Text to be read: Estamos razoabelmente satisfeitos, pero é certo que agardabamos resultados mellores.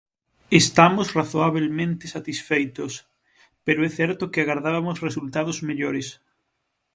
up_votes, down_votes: 0, 6